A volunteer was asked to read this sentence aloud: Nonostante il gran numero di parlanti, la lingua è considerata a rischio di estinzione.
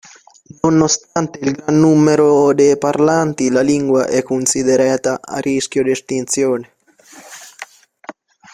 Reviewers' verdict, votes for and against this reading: rejected, 0, 2